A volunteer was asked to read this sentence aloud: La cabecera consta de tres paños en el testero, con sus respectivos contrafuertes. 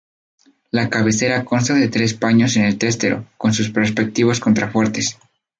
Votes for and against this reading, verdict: 2, 0, accepted